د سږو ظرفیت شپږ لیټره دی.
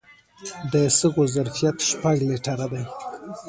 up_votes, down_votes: 1, 2